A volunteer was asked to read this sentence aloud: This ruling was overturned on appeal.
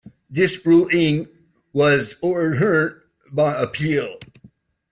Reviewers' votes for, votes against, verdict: 0, 2, rejected